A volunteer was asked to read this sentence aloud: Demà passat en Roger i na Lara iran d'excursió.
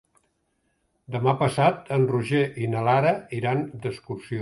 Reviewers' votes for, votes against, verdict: 3, 0, accepted